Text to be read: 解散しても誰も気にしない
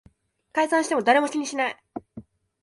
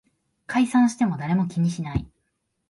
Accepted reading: second